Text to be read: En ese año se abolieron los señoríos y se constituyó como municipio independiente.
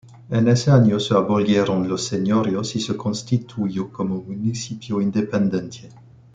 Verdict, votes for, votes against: rejected, 1, 2